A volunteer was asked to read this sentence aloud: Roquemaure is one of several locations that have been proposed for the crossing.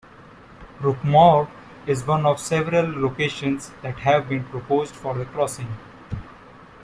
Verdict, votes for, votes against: accepted, 2, 1